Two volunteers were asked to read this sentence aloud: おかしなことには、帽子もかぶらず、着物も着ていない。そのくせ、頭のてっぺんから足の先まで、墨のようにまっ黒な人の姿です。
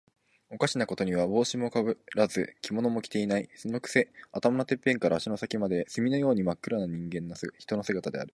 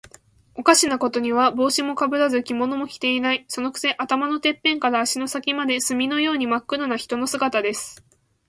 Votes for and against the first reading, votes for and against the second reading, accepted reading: 0, 2, 17, 0, second